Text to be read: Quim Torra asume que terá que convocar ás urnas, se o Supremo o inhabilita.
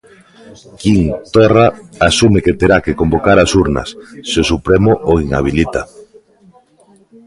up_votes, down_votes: 2, 1